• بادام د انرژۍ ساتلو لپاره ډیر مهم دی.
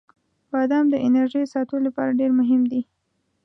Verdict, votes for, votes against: accepted, 2, 0